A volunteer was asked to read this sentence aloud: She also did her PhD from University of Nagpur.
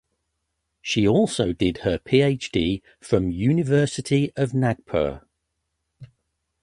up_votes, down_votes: 2, 0